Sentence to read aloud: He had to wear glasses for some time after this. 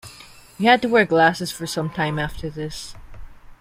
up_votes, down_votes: 2, 0